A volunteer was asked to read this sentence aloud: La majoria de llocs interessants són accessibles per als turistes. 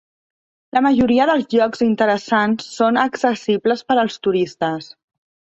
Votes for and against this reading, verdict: 1, 2, rejected